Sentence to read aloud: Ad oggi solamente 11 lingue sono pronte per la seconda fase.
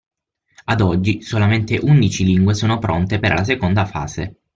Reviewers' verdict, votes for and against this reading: rejected, 0, 2